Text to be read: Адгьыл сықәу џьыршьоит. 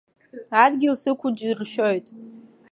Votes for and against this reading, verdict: 2, 0, accepted